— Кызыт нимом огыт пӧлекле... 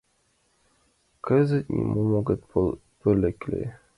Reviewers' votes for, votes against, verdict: 0, 2, rejected